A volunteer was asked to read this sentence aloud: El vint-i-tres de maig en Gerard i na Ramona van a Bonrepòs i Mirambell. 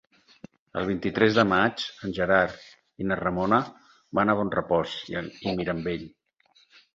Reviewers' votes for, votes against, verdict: 2, 4, rejected